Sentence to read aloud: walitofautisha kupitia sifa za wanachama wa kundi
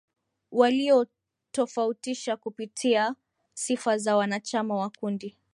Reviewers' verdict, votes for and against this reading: rejected, 0, 4